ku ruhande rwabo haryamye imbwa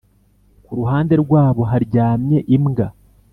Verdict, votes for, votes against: rejected, 1, 2